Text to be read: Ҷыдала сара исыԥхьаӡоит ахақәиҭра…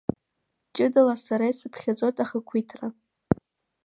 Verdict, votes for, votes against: accepted, 2, 0